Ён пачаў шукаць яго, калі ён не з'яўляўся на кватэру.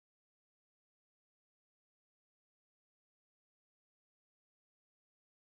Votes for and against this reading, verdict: 0, 2, rejected